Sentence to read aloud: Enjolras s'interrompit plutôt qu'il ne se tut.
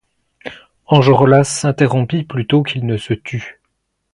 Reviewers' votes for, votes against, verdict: 1, 2, rejected